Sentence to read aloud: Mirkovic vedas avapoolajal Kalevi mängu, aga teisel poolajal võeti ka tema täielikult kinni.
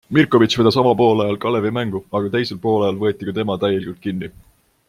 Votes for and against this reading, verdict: 2, 0, accepted